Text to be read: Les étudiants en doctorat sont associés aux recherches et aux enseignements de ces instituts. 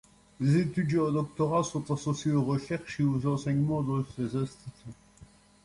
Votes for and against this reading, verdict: 2, 0, accepted